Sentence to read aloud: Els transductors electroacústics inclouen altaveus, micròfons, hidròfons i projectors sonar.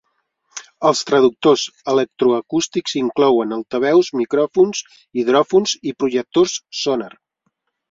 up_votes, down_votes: 1, 2